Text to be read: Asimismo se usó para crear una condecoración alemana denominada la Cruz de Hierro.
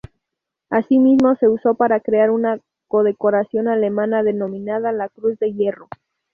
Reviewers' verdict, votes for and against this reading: rejected, 0, 2